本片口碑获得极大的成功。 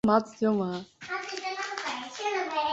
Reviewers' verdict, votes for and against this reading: rejected, 0, 2